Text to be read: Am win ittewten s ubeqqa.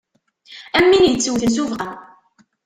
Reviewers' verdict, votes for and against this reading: rejected, 0, 2